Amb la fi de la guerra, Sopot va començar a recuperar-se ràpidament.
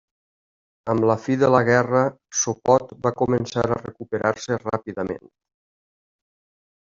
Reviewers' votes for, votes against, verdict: 2, 0, accepted